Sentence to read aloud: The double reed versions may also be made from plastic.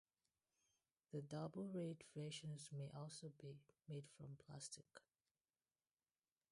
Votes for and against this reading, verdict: 0, 2, rejected